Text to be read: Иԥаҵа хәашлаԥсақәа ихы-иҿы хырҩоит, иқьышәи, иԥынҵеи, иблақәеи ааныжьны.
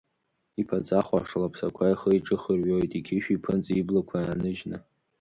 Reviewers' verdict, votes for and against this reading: accepted, 2, 0